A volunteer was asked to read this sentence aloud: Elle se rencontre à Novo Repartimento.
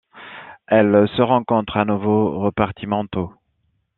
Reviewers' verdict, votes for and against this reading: accepted, 2, 0